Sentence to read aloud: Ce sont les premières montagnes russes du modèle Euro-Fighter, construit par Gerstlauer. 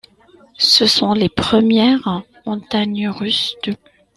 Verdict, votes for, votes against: rejected, 0, 2